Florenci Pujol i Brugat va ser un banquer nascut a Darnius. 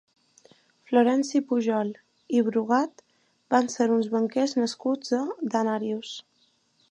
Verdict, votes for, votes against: rejected, 0, 2